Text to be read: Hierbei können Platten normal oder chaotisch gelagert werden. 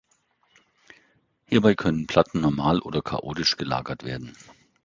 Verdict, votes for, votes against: accepted, 2, 0